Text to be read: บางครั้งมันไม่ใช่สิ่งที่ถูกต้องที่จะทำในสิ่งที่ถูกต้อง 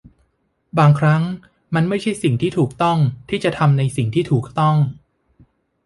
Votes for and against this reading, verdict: 2, 0, accepted